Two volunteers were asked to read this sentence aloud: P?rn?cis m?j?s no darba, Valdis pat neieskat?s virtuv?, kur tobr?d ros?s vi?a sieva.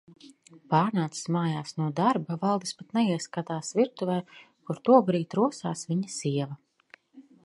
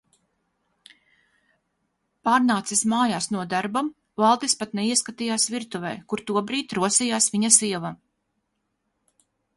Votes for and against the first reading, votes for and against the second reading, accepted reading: 2, 0, 0, 2, first